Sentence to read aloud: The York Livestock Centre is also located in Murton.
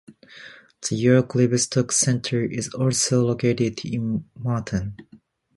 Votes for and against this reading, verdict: 2, 0, accepted